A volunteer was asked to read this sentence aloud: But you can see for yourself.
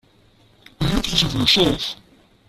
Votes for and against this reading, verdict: 0, 2, rejected